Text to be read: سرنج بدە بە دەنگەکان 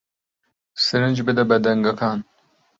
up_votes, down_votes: 2, 1